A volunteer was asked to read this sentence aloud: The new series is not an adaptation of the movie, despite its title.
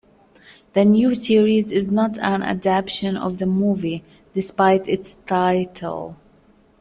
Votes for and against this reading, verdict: 1, 2, rejected